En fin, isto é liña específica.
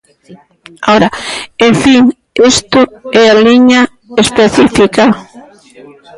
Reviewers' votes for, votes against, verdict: 0, 2, rejected